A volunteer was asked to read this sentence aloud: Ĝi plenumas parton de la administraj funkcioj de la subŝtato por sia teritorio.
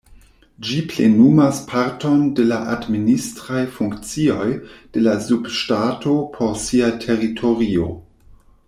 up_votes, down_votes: 1, 2